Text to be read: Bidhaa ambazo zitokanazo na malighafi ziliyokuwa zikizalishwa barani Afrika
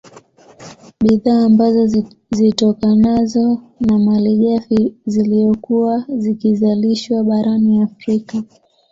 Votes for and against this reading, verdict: 2, 0, accepted